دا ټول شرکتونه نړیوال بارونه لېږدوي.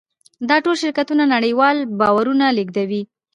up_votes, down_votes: 0, 2